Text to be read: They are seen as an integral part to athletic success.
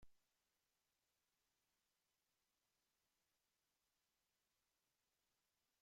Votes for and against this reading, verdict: 0, 4, rejected